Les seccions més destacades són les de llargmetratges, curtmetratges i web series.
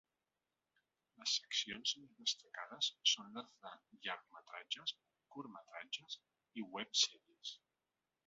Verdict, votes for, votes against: rejected, 1, 3